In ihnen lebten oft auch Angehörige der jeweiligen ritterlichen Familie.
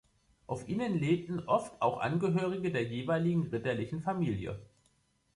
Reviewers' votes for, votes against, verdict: 0, 2, rejected